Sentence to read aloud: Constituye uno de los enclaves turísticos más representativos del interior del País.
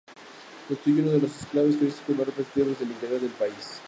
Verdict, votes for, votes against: rejected, 2, 2